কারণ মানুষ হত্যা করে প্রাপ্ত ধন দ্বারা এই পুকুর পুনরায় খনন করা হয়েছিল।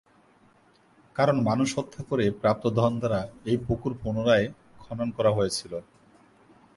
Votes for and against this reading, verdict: 3, 0, accepted